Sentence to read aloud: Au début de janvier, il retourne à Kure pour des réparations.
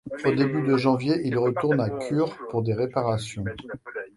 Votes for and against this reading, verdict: 2, 1, accepted